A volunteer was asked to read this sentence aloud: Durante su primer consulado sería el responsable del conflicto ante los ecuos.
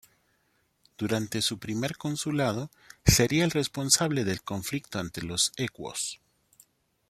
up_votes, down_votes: 2, 0